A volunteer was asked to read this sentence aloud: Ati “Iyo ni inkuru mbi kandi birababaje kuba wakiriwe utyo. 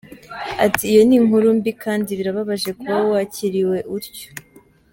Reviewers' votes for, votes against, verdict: 1, 2, rejected